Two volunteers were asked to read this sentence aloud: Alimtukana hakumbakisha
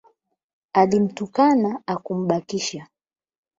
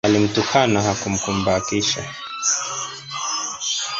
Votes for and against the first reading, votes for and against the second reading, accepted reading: 8, 0, 0, 2, first